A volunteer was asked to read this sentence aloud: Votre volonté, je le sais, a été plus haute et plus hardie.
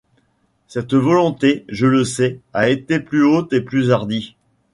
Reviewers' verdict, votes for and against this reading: rejected, 0, 2